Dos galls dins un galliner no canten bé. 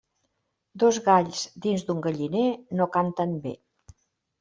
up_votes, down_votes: 2, 0